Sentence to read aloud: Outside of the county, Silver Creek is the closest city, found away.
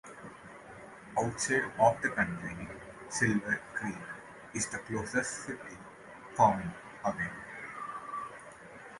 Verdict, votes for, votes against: rejected, 1, 3